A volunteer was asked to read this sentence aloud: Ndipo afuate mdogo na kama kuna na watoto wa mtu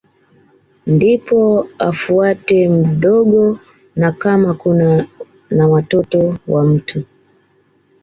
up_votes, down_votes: 2, 1